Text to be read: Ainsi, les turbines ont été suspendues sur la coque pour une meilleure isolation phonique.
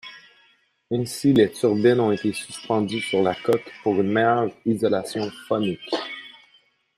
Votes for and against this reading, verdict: 1, 2, rejected